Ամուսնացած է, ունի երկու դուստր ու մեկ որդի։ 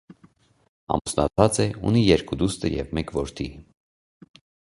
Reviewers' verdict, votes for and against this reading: rejected, 1, 2